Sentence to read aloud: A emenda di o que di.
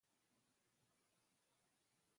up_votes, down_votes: 0, 2